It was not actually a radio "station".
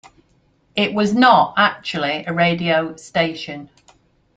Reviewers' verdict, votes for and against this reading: accepted, 2, 0